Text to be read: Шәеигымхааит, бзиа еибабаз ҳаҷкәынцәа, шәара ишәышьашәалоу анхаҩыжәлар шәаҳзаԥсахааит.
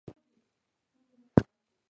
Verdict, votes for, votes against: rejected, 0, 2